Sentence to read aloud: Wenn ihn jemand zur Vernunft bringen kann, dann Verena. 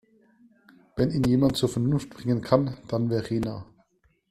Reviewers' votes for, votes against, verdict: 2, 0, accepted